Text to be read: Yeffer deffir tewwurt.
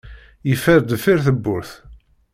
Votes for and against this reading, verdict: 2, 0, accepted